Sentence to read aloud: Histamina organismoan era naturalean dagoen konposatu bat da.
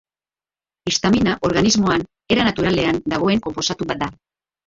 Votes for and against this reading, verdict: 0, 3, rejected